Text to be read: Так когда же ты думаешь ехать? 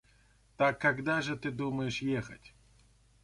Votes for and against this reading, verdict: 2, 0, accepted